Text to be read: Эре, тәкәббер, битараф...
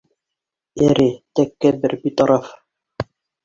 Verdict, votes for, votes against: rejected, 1, 2